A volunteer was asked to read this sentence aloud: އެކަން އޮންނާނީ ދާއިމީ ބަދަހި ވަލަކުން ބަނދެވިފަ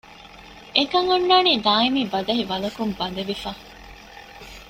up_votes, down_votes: 2, 0